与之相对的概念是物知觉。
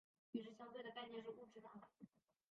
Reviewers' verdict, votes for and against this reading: rejected, 0, 3